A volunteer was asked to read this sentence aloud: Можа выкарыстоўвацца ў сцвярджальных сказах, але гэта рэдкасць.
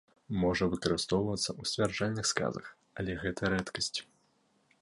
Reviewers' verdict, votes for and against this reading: accepted, 2, 0